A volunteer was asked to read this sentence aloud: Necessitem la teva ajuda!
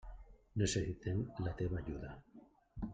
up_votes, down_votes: 0, 2